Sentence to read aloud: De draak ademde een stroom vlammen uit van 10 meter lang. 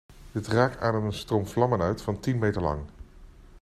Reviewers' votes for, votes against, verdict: 0, 2, rejected